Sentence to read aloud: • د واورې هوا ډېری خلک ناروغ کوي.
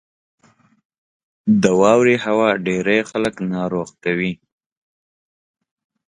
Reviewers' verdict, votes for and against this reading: accepted, 2, 0